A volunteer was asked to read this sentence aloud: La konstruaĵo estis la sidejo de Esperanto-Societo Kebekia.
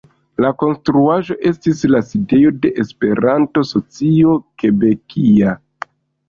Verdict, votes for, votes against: rejected, 1, 2